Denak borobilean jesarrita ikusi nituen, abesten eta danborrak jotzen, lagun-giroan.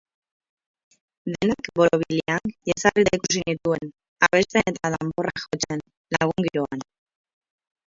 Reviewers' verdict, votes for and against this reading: rejected, 0, 4